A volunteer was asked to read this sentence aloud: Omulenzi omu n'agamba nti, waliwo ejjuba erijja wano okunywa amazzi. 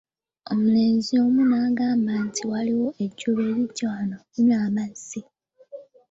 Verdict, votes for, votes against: rejected, 0, 2